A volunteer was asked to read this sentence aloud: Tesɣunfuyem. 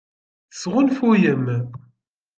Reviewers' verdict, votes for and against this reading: accepted, 2, 0